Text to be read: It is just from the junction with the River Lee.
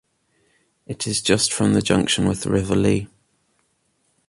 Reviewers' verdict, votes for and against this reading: accepted, 2, 0